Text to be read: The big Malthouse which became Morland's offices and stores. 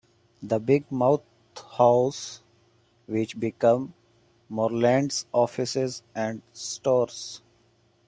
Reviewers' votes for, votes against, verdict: 0, 2, rejected